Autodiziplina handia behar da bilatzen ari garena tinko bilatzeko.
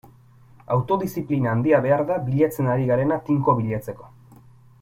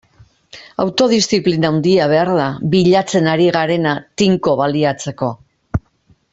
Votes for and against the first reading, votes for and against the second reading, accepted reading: 4, 1, 0, 2, first